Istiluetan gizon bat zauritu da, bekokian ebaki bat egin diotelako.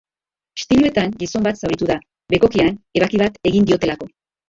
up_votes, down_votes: 0, 3